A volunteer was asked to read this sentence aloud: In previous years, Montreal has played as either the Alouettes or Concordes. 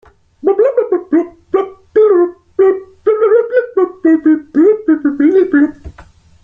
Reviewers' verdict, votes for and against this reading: rejected, 0, 2